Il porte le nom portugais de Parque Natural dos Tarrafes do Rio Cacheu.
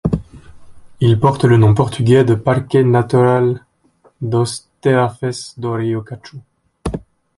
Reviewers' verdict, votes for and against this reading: rejected, 0, 2